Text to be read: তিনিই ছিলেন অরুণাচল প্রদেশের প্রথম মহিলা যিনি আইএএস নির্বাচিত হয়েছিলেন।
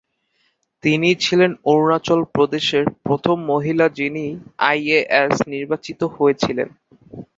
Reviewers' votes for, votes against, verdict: 15, 0, accepted